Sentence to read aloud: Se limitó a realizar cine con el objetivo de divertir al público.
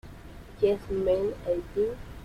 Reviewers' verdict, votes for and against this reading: rejected, 0, 2